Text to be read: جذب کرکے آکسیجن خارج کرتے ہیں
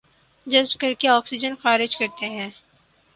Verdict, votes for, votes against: accepted, 6, 0